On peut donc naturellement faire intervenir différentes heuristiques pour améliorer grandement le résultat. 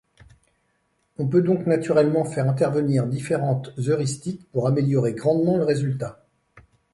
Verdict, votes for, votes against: accepted, 2, 0